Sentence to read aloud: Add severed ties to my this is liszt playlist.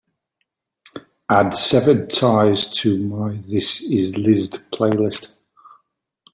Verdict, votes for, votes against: accepted, 2, 0